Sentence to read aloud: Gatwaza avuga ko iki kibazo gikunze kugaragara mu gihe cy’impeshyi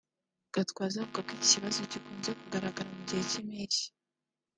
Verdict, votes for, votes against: accepted, 2, 1